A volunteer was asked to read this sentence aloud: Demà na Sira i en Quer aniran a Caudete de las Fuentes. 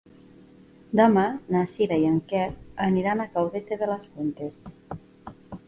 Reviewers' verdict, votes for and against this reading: accepted, 2, 0